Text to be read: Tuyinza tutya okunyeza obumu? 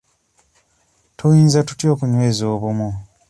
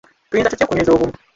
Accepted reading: first